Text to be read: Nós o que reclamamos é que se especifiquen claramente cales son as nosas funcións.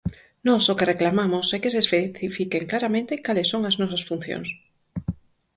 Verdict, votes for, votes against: rejected, 0, 4